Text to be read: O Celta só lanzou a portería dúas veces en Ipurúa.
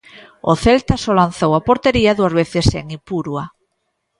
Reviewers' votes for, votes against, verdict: 0, 2, rejected